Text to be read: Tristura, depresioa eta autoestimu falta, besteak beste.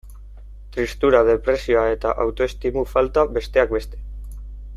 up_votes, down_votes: 2, 0